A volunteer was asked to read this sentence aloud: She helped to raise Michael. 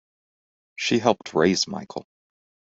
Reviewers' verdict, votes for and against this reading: rejected, 1, 2